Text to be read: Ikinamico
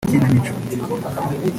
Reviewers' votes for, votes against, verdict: 1, 2, rejected